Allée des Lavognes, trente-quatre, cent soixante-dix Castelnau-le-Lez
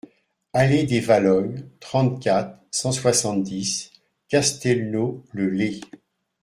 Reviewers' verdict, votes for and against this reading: rejected, 0, 2